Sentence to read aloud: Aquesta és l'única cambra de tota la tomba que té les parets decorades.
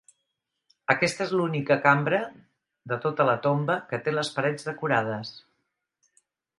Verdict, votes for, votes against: accepted, 2, 0